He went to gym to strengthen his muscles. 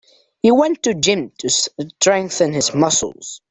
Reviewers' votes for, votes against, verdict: 1, 2, rejected